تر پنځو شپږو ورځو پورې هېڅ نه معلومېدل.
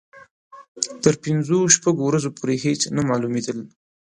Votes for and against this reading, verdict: 2, 0, accepted